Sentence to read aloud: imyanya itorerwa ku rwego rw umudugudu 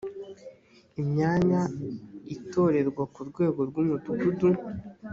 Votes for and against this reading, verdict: 2, 0, accepted